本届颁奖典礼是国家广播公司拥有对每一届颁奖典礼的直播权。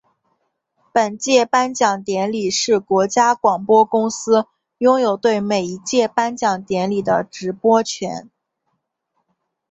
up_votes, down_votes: 7, 2